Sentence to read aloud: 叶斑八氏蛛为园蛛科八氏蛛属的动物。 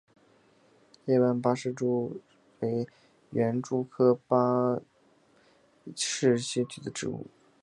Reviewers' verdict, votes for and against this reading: rejected, 0, 2